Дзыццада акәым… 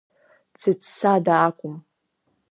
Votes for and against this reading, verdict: 2, 0, accepted